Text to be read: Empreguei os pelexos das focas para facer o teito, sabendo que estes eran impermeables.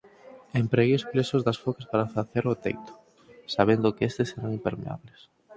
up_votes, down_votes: 4, 6